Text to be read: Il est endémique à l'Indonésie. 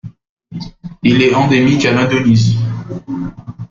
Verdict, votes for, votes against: accepted, 2, 0